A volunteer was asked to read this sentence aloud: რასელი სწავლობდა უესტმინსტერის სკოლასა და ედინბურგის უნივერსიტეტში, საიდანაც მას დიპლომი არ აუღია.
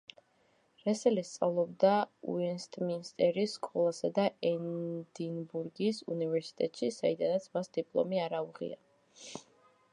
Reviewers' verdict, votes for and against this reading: rejected, 1, 2